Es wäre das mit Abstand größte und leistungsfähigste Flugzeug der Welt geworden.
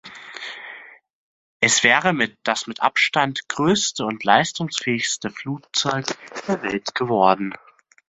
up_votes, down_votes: 0, 2